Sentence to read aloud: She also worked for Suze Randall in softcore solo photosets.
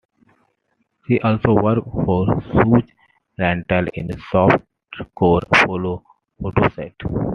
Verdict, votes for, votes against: accepted, 2, 1